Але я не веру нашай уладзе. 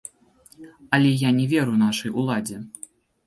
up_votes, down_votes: 0, 2